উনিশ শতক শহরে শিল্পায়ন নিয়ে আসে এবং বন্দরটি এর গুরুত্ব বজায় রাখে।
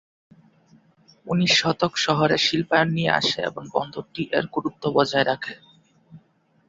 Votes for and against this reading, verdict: 2, 0, accepted